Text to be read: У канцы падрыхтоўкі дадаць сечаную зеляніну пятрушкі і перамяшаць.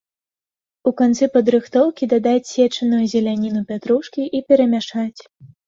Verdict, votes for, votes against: accepted, 3, 0